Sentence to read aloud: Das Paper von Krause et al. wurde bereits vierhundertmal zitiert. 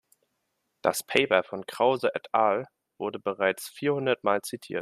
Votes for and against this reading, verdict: 2, 0, accepted